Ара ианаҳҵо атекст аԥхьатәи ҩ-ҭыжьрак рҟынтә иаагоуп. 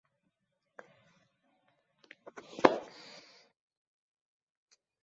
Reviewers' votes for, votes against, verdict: 0, 2, rejected